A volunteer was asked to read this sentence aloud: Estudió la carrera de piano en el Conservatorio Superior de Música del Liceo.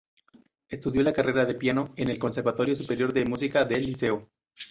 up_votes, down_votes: 2, 0